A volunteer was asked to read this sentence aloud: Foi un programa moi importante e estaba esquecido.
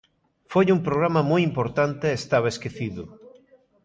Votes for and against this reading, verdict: 1, 2, rejected